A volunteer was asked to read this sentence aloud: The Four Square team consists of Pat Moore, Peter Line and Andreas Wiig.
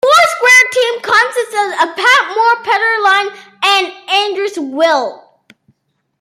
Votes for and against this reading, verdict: 1, 2, rejected